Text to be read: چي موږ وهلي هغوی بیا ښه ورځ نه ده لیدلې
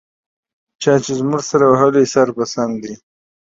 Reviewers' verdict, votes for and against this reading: rejected, 1, 2